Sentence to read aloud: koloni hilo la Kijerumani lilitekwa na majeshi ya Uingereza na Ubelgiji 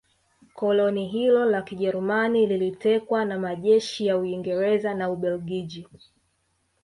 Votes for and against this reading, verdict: 3, 0, accepted